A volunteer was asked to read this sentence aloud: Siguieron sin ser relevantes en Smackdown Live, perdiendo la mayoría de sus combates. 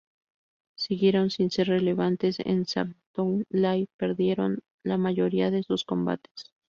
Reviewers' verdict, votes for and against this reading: rejected, 0, 2